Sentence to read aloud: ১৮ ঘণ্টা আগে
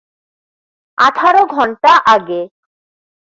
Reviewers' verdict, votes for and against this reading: rejected, 0, 2